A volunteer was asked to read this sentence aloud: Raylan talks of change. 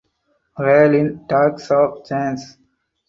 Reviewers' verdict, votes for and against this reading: accepted, 4, 0